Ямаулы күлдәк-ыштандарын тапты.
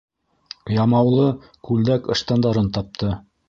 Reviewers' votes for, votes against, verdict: 2, 0, accepted